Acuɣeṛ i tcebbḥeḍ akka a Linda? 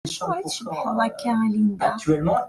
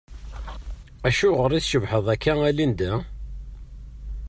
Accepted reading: second